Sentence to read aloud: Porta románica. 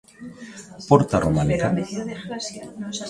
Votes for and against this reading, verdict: 0, 2, rejected